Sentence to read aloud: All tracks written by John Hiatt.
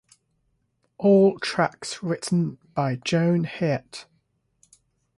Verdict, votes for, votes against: rejected, 0, 6